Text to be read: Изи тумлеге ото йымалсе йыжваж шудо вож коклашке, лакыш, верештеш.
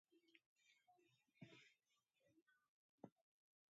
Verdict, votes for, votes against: rejected, 0, 2